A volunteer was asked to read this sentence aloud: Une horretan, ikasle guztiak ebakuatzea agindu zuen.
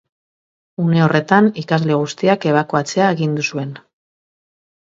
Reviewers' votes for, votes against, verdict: 2, 0, accepted